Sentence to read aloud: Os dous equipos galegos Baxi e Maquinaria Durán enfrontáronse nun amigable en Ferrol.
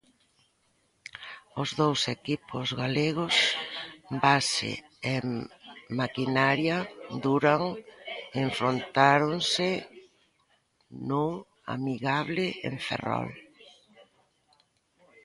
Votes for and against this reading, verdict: 1, 2, rejected